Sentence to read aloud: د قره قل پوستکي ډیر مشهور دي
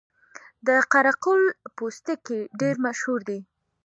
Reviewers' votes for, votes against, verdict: 2, 0, accepted